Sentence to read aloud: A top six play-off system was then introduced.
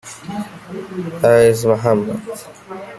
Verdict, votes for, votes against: rejected, 0, 2